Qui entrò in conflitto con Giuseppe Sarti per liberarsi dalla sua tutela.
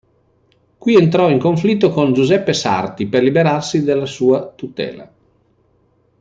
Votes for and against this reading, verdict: 0, 2, rejected